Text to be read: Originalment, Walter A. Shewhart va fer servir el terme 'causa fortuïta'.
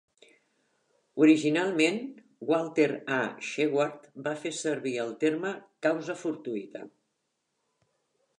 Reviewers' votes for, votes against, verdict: 2, 0, accepted